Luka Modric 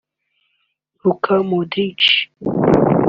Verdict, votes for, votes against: rejected, 1, 2